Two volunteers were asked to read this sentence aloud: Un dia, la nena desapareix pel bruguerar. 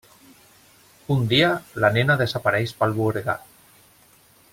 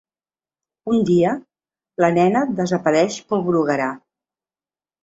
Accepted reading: second